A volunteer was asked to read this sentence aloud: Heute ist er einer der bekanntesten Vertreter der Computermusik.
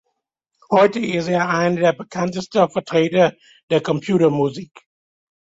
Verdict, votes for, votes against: accepted, 3, 1